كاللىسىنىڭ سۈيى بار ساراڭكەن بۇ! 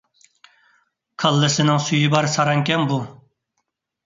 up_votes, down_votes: 2, 0